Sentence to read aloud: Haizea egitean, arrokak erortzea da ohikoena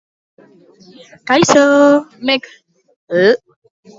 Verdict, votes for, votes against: rejected, 0, 2